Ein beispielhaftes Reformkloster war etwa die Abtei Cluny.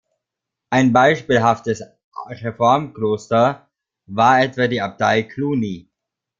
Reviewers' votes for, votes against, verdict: 1, 2, rejected